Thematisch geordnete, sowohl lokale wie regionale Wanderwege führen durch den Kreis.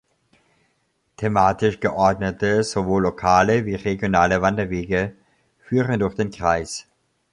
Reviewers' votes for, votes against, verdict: 2, 0, accepted